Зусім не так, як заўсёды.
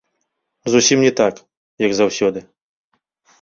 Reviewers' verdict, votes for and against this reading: accepted, 2, 0